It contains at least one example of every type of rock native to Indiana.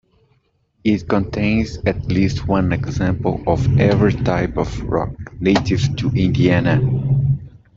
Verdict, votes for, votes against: rejected, 1, 2